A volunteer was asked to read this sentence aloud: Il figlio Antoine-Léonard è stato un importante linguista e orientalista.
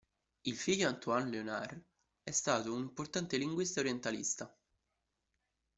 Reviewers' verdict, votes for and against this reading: accepted, 2, 0